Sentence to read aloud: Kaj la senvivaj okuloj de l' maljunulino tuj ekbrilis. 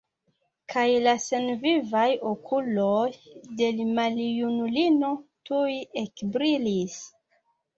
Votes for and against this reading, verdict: 2, 1, accepted